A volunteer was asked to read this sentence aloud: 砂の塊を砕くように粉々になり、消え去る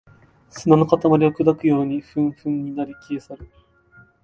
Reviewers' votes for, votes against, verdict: 1, 2, rejected